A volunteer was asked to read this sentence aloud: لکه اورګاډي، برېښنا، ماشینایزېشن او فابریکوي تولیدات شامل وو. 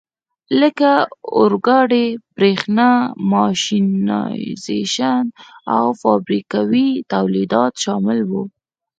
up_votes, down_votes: 4, 0